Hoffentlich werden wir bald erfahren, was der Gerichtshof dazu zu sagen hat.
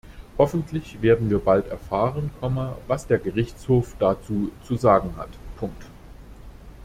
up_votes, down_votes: 0, 2